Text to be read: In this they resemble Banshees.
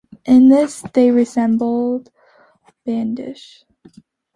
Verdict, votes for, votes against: rejected, 0, 2